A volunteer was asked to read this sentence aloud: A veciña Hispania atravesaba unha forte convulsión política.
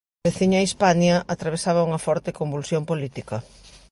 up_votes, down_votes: 2, 1